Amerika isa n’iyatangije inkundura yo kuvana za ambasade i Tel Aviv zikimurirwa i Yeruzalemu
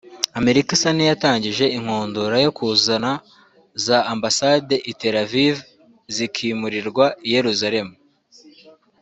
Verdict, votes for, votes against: accepted, 2, 0